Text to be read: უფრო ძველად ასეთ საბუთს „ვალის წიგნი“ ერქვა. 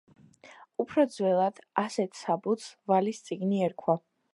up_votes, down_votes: 2, 0